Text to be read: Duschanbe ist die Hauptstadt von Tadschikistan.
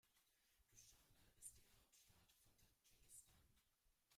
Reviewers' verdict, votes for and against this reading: rejected, 0, 2